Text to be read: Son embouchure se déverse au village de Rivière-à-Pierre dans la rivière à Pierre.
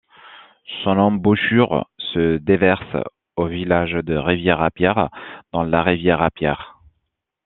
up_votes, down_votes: 2, 0